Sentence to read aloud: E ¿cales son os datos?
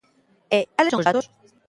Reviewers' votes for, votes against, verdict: 0, 2, rejected